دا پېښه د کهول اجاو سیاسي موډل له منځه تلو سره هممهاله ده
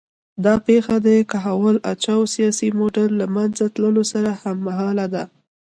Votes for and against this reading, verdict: 2, 0, accepted